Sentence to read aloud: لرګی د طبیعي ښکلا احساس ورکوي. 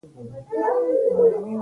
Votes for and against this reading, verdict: 0, 2, rejected